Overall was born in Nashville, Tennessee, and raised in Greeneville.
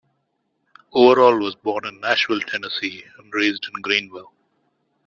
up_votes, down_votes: 2, 0